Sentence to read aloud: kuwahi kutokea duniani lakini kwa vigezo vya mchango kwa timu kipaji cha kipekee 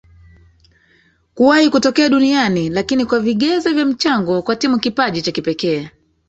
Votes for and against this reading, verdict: 1, 2, rejected